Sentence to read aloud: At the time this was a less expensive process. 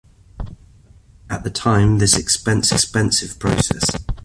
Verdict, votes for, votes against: rejected, 0, 2